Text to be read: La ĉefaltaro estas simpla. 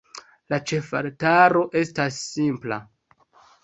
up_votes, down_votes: 1, 2